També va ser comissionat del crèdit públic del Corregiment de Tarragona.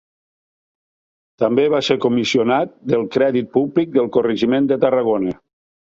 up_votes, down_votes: 3, 0